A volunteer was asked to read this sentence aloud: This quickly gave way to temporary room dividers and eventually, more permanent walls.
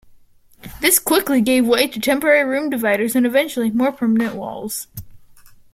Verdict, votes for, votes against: accepted, 2, 0